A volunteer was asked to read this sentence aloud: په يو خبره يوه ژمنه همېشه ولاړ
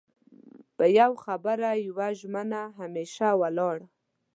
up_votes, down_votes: 2, 0